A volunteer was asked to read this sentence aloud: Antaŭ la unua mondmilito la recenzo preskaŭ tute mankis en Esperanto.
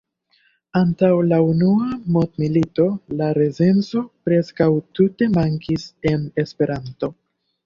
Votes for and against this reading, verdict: 0, 2, rejected